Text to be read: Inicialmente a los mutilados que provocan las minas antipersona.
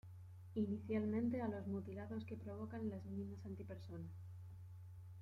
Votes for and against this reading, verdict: 2, 1, accepted